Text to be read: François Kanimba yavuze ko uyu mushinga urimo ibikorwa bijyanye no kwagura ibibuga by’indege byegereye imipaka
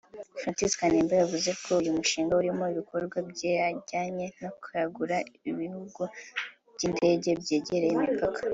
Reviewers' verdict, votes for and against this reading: accepted, 2, 1